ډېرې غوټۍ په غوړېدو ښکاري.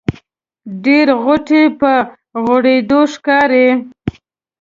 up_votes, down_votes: 1, 2